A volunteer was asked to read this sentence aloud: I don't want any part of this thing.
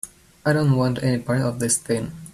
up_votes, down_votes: 2, 0